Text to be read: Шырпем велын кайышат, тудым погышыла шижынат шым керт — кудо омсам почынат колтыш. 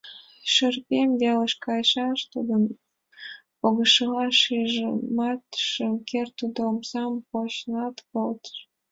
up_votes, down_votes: 1, 2